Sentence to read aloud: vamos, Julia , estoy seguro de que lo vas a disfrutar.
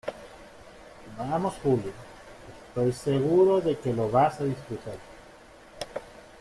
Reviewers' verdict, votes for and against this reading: accepted, 2, 1